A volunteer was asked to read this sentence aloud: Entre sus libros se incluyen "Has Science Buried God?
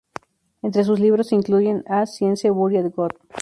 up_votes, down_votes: 0, 2